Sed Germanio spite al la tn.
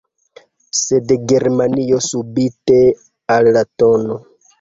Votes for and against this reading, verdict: 0, 2, rejected